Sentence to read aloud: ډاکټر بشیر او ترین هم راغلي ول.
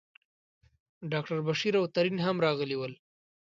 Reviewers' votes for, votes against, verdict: 2, 0, accepted